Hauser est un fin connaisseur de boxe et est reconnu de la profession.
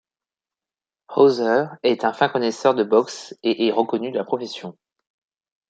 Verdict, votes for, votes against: accepted, 2, 0